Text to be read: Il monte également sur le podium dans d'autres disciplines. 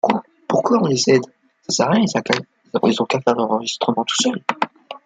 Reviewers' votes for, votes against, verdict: 0, 2, rejected